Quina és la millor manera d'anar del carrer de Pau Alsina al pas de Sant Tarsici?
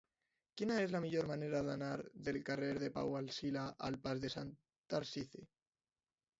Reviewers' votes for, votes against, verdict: 1, 2, rejected